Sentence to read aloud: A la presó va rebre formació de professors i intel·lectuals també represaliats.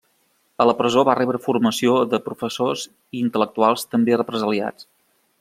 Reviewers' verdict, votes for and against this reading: accepted, 3, 0